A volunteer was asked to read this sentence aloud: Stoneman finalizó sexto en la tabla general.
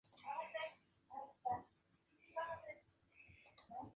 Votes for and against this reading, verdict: 0, 2, rejected